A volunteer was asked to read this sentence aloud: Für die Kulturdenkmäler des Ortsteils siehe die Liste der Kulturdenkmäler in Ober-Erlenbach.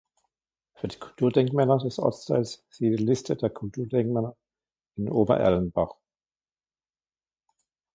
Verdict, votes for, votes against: rejected, 2, 3